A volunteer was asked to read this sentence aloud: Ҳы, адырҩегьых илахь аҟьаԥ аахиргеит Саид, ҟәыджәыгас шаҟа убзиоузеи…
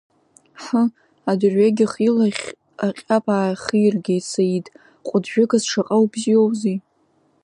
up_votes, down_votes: 2, 1